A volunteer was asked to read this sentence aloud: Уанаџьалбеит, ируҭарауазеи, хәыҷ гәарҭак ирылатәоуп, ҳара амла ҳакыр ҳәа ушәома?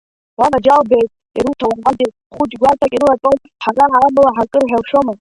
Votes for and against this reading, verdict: 0, 2, rejected